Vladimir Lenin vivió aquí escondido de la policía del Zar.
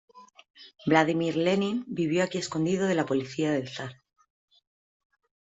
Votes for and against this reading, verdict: 2, 0, accepted